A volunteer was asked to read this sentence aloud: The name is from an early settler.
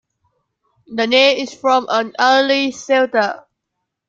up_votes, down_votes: 0, 2